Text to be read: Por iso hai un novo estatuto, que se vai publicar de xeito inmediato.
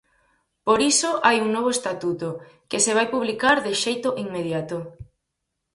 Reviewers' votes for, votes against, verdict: 4, 0, accepted